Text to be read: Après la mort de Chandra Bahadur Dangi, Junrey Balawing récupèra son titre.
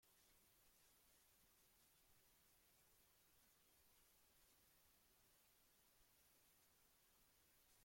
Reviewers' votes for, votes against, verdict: 0, 2, rejected